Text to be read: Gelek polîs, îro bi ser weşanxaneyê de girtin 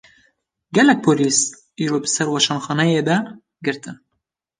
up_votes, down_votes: 2, 0